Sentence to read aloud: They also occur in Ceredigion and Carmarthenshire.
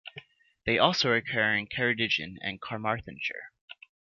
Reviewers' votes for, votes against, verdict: 2, 0, accepted